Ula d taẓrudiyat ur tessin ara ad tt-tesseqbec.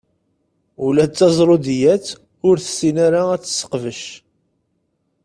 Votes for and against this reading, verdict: 2, 0, accepted